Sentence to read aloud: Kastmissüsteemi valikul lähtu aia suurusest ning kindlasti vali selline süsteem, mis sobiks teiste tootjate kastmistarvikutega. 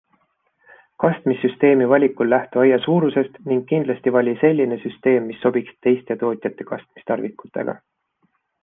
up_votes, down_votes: 2, 1